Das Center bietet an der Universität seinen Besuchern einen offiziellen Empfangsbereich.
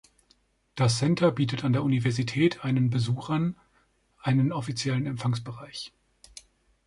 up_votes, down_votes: 0, 3